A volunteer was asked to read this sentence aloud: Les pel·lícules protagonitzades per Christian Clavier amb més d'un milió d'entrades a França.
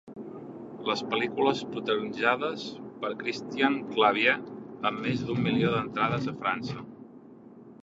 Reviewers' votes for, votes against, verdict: 0, 2, rejected